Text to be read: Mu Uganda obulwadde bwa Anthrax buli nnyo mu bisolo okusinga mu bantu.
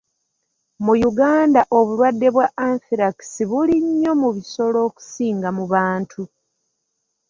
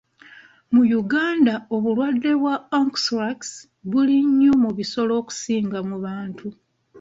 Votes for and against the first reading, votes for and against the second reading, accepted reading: 2, 0, 1, 2, first